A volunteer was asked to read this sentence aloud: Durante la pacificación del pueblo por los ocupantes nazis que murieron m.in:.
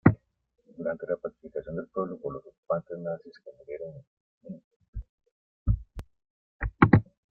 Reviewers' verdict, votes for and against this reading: rejected, 0, 2